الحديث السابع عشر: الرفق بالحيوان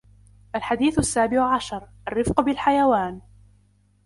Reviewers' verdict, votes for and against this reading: rejected, 1, 2